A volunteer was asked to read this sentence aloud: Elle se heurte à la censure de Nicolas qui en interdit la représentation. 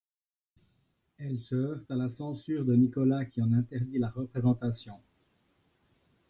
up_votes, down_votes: 2, 0